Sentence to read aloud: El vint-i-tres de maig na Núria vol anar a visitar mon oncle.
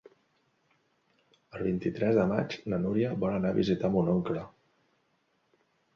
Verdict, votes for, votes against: accepted, 3, 0